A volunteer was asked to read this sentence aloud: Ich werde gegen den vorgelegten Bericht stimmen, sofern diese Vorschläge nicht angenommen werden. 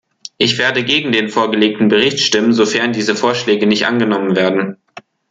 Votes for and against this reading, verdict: 2, 0, accepted